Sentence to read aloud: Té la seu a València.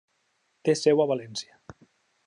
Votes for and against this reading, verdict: 0, 2, rejected